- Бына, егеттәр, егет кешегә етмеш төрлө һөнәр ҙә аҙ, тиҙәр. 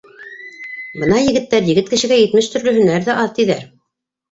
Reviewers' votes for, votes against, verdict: 1, 2, rejected